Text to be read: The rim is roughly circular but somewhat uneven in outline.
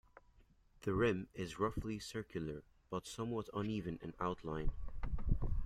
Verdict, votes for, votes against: accepted, 2, 0